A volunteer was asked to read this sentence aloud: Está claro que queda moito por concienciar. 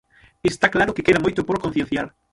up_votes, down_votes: 0, 6